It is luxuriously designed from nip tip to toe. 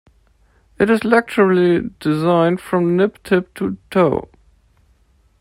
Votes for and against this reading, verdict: 1, 2, rejected